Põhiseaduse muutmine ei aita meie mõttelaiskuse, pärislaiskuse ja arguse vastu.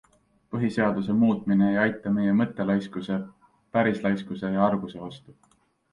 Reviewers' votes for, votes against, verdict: 2, 0, accepted